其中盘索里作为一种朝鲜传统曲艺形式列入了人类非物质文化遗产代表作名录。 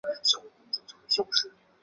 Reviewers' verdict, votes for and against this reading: rejected, 0, 2